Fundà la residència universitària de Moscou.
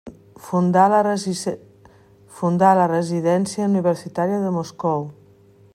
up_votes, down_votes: 0, 2